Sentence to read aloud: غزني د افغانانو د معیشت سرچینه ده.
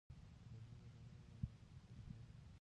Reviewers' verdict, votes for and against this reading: accepted, 2, 1